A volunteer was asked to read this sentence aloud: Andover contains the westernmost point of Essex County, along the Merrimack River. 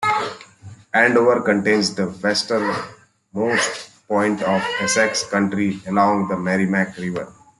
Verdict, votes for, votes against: rejected, 1, 2